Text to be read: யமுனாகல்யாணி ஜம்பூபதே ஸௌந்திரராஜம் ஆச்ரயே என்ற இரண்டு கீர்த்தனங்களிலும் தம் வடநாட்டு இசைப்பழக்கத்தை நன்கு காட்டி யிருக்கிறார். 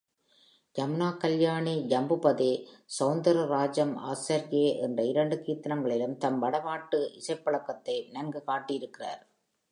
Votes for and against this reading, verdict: 3, 0, accepted